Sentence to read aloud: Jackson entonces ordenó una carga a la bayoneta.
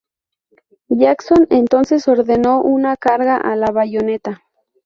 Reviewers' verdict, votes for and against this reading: rejected, 0, 2